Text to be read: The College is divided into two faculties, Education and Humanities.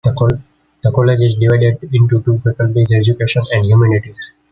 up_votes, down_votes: 1, 2